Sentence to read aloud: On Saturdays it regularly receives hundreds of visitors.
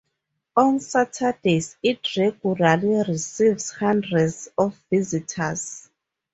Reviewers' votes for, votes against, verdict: 0, 4, rejected